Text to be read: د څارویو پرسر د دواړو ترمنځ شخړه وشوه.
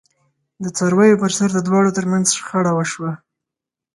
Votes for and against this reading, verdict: 4, 0, accepted